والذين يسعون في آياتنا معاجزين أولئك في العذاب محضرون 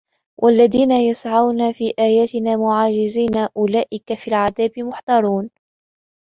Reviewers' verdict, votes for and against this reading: accepted, 2, 1